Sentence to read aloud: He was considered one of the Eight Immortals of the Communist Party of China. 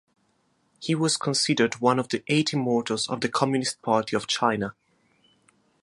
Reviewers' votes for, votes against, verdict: 2, 0, accepted